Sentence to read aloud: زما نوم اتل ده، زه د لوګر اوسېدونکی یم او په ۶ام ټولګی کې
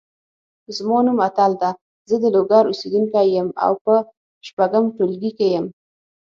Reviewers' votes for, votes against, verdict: 0, 2, rejected